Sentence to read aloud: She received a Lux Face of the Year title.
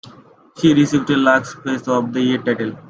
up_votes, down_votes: 2, 1